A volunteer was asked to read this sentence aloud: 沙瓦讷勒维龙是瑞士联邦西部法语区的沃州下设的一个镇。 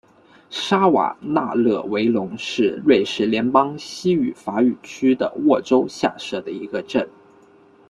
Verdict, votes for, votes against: rejected, 1, 2